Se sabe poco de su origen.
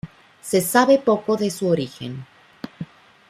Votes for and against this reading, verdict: 2, 0, accepted